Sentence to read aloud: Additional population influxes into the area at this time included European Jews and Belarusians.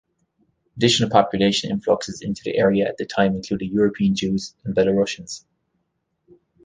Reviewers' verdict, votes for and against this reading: accepted, 2, 0